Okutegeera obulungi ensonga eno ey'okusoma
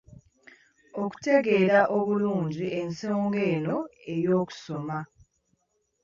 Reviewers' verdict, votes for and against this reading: accepted, 3, 0